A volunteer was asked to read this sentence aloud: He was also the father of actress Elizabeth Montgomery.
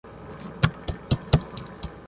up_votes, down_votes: 0, 2